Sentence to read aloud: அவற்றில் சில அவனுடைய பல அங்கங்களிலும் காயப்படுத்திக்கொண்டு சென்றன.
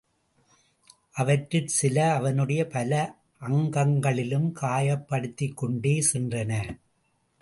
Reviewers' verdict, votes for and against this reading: rejected, 1, 2